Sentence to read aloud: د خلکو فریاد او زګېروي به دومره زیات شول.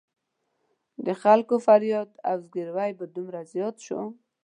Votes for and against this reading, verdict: 2, 0, accepted